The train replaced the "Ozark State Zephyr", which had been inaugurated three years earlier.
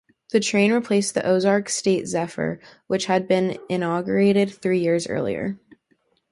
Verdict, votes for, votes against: accepted, 4, 0